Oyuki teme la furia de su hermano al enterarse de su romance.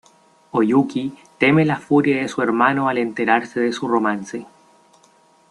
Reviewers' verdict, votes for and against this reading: rejected, 0, 2